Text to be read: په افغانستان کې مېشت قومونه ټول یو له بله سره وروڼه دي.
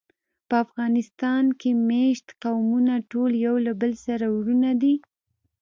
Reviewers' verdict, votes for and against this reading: accepted, 2, 0